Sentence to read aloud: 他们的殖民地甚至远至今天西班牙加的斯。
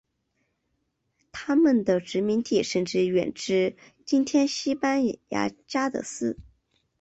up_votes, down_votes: 2, 1